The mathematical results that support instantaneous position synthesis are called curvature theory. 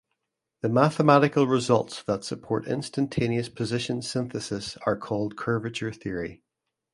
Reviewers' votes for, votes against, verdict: 2, 0, accepted